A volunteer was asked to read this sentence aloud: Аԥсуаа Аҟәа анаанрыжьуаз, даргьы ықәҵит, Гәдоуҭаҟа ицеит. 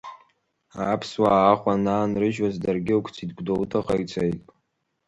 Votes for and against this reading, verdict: 2, 0, accepted